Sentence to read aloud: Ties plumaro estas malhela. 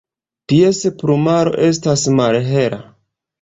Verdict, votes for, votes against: rejected, 1, 2